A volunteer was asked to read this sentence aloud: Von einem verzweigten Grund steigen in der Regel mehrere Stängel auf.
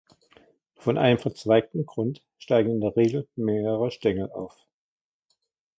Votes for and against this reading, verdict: 1, 2, rejected